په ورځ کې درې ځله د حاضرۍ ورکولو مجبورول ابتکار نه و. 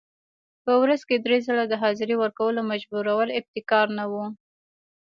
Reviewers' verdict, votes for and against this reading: rejected, 0, 2